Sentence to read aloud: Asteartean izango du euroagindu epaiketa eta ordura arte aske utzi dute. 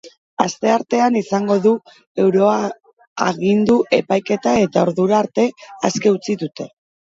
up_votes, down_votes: 0, 3